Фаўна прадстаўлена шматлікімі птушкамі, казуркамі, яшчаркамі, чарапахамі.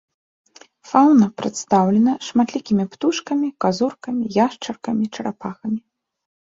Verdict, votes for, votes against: accepted, 2, 0